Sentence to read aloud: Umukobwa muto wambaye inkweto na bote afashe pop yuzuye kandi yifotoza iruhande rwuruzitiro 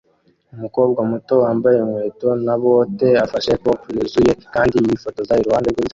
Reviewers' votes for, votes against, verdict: 0, 2, rejected